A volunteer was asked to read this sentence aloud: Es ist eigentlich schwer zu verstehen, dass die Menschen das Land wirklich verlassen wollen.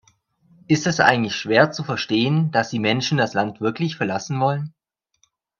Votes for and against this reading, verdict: 0, 2, rejected